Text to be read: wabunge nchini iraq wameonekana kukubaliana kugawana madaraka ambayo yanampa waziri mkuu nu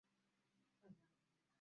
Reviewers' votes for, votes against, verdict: 0, 14, rejected